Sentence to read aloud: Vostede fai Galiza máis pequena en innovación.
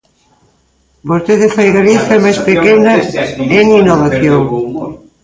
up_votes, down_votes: 1, 2